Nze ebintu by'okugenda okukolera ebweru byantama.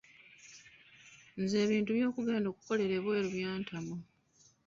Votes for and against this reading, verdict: 1, 2, rejected